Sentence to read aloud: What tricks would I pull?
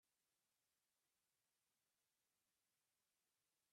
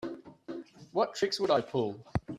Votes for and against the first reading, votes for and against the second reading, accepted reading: 0, 2, 2, 0, second